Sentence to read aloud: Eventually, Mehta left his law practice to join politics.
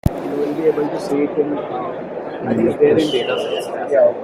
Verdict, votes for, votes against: rejected, 0, 2